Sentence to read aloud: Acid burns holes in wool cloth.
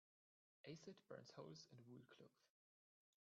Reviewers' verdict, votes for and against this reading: rejected, 0, 2